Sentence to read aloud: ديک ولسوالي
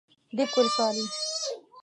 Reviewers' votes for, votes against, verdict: 1, 2, rejected